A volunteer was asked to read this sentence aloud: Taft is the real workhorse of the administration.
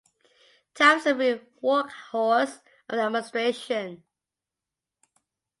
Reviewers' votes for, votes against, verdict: 0, 2, rejected